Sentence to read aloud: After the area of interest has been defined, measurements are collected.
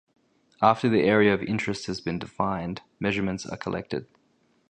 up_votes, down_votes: 2, 0